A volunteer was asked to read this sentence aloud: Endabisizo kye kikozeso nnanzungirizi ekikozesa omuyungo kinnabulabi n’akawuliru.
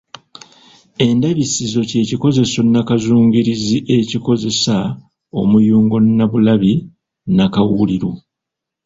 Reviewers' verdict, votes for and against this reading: rejected, 1, 2